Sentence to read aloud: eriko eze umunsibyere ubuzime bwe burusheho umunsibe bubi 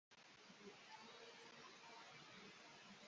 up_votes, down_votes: 0, 2